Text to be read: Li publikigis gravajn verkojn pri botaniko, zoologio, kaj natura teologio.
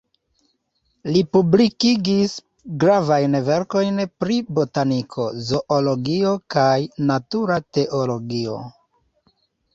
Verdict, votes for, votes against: accepted, 3, 0